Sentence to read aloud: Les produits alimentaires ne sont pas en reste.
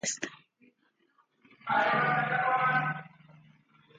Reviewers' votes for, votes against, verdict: 0, 2, rejected